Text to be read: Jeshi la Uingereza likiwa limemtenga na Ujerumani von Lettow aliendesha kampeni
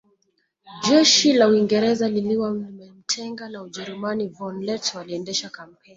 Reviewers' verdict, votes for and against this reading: rejected, 0, 2